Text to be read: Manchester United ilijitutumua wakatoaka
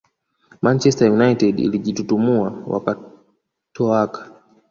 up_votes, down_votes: 1, 2